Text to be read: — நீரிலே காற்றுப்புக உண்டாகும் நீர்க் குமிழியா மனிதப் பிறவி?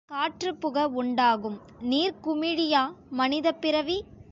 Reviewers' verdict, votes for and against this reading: rejected, 2, 3